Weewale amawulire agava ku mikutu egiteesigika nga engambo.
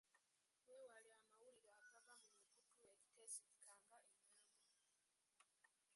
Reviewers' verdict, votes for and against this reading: rejected, 1, 2